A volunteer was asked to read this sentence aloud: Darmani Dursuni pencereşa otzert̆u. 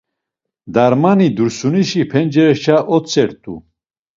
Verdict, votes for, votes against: rejected, 1, 2